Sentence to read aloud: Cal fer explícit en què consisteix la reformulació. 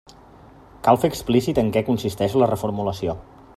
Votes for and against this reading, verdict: 4, 0, accepted